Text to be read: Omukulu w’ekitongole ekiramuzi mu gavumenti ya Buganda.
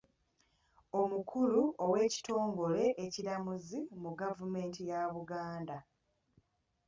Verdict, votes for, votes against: rejected, 1, 2